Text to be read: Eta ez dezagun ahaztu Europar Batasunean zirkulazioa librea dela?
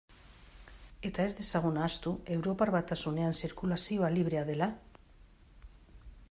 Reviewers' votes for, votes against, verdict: 2, 0, accepted